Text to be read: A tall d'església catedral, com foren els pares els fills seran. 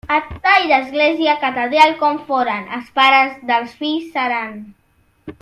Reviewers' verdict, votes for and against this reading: rejected, 0, 2